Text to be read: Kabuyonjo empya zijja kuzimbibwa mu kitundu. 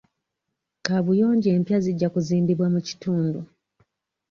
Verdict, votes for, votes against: accepted, 2, 0